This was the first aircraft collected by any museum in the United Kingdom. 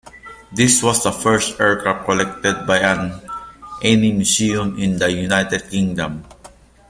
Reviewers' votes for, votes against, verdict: 0, 2, rejected